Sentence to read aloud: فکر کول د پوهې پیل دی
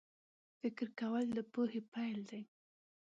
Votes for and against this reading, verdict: 2, 0, accepted